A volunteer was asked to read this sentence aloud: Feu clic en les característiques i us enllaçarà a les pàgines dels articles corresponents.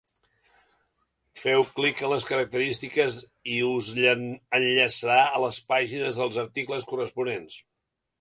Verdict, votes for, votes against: rejected, 1, 2